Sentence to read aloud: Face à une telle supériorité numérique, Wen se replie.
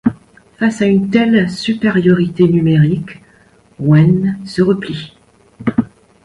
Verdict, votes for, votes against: accepted, 2, 0